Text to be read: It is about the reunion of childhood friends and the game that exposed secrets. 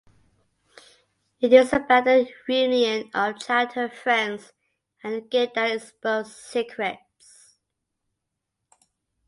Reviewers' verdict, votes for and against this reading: accepted, 2, 0